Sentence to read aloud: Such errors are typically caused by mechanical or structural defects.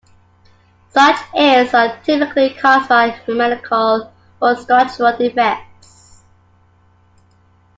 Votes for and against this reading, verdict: 0, 2, rejected